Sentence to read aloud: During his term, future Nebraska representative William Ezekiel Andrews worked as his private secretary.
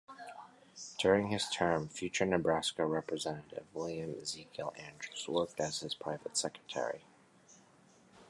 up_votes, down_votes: 2, 0